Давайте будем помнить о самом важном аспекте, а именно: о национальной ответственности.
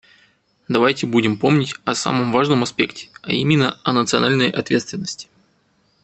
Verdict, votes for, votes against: accepted, 2, 0